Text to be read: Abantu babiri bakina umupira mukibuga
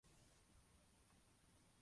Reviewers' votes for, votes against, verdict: 0, 2, rejected